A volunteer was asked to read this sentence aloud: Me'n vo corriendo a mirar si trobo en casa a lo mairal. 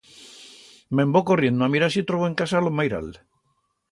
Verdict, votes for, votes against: accepted, 2, 0